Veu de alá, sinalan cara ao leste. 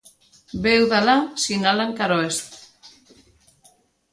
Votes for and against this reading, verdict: 1, 2, rejected